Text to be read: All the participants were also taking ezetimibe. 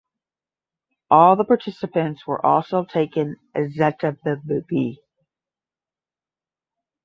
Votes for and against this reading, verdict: 0, 10, rejected